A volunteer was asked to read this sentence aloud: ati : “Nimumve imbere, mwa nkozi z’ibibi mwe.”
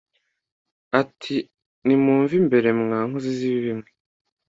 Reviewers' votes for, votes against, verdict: 2, 0, accepted